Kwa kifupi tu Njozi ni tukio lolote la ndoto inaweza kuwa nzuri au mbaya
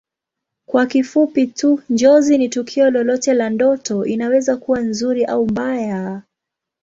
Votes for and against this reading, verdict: 2, 0, accepted